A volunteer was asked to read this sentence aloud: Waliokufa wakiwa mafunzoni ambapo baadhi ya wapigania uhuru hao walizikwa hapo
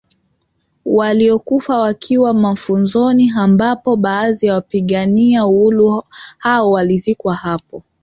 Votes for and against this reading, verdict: 1, 2, rejected